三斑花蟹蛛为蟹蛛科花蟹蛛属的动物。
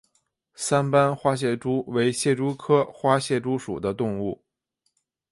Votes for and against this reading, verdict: 2, 0, accepted